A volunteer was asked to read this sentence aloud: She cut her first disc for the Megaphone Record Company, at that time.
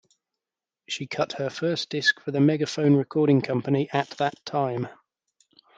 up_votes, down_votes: 1, 2